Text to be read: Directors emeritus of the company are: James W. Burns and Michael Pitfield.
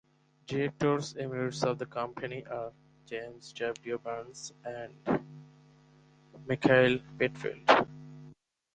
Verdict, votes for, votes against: accepted, 4, 0